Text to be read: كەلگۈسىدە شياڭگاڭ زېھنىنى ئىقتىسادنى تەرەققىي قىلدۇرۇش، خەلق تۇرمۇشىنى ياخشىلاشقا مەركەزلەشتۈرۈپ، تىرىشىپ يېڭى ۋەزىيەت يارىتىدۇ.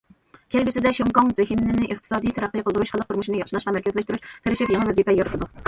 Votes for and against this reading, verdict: 1, 2, rejected